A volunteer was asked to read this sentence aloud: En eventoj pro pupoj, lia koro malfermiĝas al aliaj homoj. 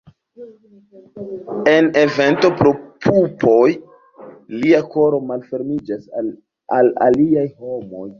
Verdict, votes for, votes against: accepted, 2, 0